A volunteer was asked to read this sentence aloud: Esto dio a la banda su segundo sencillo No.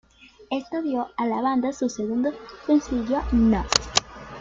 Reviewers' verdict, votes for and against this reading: accepted, 2, 0